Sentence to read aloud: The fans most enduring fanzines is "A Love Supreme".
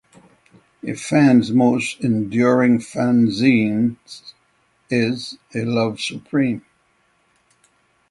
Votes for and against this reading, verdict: 6, 0, accepted